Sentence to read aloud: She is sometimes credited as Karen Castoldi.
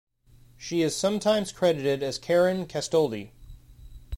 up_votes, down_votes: 2, 0